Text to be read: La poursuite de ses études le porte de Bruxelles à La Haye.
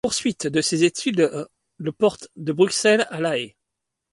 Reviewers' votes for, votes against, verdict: 2, 0, accepted